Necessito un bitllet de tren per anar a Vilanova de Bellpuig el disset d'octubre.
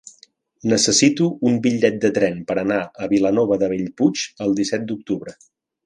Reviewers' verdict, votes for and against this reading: accepted, 3, 0